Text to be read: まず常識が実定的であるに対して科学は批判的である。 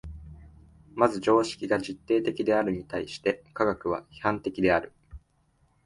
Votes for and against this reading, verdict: 2, 1, accepted